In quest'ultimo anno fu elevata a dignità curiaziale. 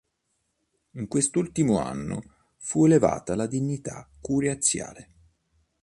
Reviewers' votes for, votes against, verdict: 1, 2, rejected